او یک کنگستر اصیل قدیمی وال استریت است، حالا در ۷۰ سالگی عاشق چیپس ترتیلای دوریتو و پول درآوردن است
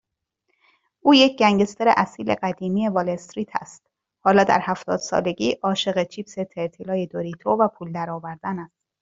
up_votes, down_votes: 0, 2